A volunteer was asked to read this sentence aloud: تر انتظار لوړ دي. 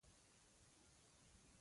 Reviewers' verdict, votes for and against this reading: rejected, 1, 2